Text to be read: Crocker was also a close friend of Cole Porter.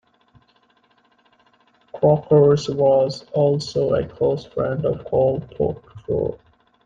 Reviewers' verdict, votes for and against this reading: rejected, 1, 2